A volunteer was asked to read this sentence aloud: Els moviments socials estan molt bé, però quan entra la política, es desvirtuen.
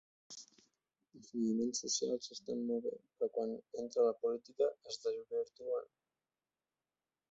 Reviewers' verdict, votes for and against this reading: rejected, 1, 2